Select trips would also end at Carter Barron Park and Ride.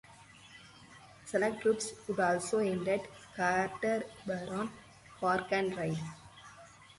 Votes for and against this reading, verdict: 4, 0, accepted